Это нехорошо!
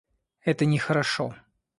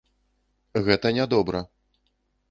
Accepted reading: first